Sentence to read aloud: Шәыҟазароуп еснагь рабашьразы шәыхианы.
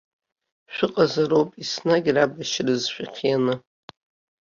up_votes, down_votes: 2, 0